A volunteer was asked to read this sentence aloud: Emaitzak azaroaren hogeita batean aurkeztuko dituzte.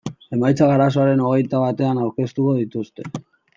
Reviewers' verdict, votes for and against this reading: rejected, 2, 2